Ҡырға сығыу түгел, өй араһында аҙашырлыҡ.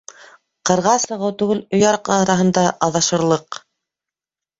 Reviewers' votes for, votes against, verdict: 0, 2, rejected